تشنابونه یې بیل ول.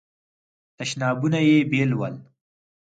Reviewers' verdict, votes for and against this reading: accepted, 4, 0